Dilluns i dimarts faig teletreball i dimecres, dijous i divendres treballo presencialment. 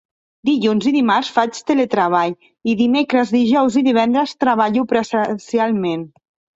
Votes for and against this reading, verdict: 3, 2, accepted